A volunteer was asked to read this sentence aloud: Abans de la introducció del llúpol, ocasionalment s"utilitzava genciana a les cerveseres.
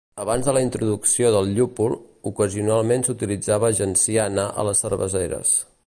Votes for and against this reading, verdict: 2, 0, accepted